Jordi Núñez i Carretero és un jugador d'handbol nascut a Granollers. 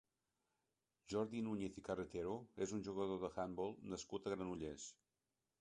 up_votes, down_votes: 1, 2